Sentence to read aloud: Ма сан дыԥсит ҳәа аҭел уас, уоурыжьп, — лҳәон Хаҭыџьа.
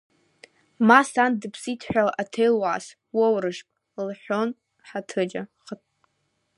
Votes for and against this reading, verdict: 1, 2, rejected